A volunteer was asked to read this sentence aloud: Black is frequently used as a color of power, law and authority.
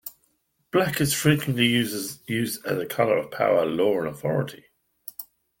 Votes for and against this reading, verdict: 0, 2, rejected